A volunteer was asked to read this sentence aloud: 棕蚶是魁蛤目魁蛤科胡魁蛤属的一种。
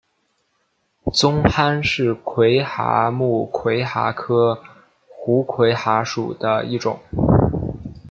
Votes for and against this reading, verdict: 2, 0, accepted